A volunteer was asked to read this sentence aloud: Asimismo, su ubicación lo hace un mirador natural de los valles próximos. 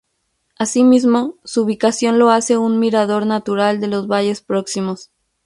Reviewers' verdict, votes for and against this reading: accepted, 2, 0